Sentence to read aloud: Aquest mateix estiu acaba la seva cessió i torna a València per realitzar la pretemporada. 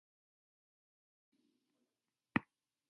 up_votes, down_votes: 0, 2